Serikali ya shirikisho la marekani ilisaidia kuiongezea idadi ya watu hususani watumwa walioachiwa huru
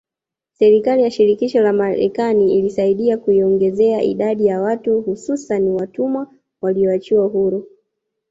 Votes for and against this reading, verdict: 0, 2, rejected